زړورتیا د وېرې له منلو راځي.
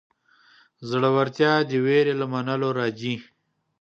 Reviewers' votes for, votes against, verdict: 2, 0, accepted